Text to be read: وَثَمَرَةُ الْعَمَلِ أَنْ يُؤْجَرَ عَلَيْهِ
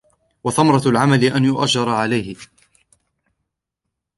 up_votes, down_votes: 2, 0